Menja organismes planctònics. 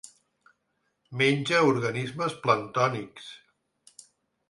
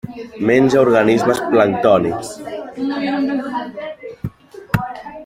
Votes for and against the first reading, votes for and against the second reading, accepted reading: 2, 0, 0, 2, first